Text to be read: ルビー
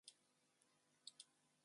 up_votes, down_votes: 0, 2